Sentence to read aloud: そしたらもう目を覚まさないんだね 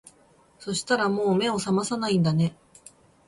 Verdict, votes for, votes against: accepted, 3, 0